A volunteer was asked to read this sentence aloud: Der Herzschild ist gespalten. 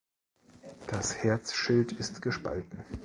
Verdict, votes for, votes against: rejected, 0, 2